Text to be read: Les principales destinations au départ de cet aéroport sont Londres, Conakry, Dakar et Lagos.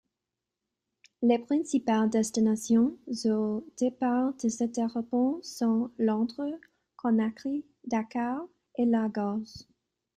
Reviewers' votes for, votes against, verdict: 0, 2, rejected